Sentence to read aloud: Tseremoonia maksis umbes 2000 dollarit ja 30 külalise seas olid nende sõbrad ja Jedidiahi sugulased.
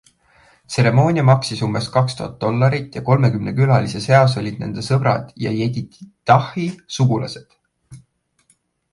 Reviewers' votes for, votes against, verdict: 0, 2, rejected